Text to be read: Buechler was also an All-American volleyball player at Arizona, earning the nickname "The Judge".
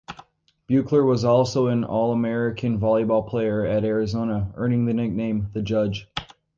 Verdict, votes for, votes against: accepted, 2, 0